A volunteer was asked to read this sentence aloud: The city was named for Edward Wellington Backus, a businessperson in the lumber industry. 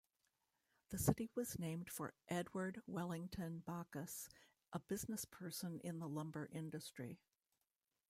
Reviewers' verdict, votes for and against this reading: rejected, 1, 2